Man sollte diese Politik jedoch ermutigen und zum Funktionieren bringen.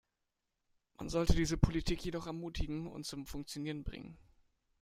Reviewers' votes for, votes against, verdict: 2, 1, accepted